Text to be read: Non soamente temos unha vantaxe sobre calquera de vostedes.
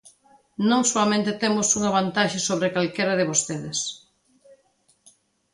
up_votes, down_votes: 2, 0